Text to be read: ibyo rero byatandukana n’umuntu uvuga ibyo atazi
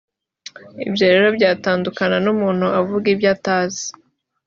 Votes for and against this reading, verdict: 2, 1, accepted